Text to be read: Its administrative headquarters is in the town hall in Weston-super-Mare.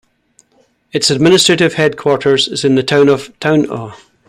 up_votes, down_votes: 0, 2